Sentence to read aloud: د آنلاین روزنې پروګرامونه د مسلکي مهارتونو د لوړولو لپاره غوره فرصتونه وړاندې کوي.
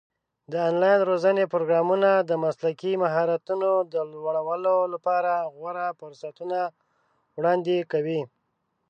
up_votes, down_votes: 0, 2